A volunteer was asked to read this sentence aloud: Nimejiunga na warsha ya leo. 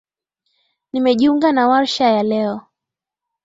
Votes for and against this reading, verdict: 2, 0, accepted